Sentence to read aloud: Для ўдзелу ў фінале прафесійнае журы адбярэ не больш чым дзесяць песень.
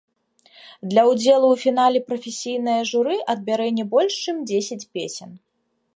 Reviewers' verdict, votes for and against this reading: rejected, 1, 2